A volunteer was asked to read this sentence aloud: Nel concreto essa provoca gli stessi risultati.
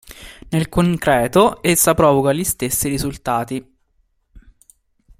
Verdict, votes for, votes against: accepted, 2, 0